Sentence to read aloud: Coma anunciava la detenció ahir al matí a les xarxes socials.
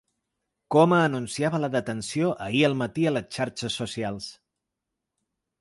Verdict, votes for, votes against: accepted, 3, 0